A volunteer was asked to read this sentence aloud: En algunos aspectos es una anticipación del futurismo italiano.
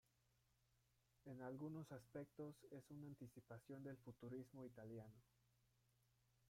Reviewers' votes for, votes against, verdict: 1, 2, rejected